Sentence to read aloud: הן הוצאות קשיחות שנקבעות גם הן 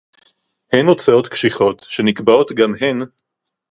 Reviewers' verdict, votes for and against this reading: accepted, 2, 0